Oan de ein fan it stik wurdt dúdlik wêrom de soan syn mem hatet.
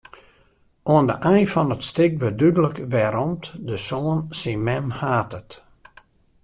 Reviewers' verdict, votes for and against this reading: rejected, 1, 2